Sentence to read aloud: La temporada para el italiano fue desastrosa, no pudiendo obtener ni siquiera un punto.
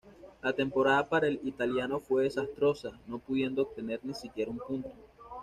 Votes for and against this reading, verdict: 2, 0, accepted